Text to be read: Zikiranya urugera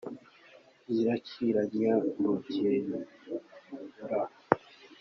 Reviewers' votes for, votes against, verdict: 0, 2, rejected